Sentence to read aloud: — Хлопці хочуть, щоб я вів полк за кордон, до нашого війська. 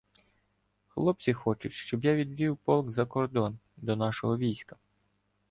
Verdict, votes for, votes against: rejected, 1, 2